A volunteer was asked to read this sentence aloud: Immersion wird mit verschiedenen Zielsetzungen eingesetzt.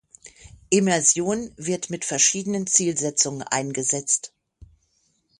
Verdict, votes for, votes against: accepted, 6, 0